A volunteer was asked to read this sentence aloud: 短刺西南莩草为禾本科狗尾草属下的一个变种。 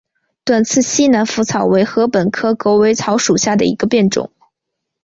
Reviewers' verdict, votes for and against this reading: accepted, 2, 1